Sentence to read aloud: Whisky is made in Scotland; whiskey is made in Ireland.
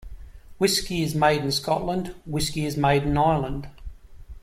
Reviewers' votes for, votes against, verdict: 2, 0, accepted